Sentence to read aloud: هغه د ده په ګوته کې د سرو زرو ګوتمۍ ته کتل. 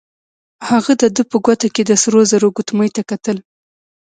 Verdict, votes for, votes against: accepted, 2, 0